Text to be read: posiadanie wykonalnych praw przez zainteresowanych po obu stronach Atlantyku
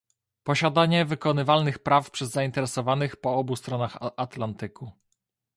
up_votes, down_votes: 1, 2